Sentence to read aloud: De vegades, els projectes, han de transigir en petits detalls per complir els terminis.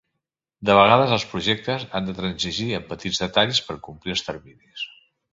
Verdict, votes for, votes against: accepted, 2, 1